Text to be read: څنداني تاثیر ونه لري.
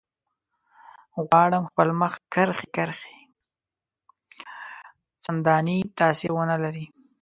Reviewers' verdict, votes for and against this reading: rejected, 1, 2